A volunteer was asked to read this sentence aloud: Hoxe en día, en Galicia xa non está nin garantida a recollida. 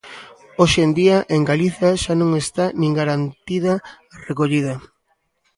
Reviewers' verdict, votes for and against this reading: rejected, 1, 2